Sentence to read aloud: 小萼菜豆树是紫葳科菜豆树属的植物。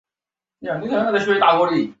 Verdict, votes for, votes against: rejected, 0, 2